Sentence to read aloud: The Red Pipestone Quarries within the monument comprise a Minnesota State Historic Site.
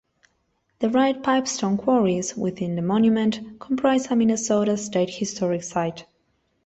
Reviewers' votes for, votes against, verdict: 2, 1, accepted